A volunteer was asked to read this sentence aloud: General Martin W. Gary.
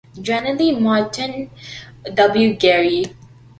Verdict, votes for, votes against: rejected, 0, 2